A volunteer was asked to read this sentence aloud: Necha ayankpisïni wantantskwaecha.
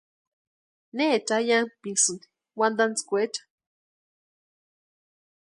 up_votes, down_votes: 2, 0